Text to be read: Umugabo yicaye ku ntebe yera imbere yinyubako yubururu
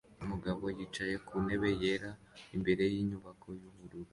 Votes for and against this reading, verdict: 2, 0, accepted